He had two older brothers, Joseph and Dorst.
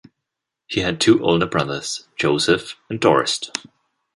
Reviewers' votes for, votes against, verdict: 2, 0, accepted